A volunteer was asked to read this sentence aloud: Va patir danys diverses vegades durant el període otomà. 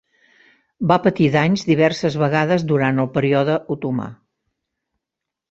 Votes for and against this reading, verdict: 0, 2, rejected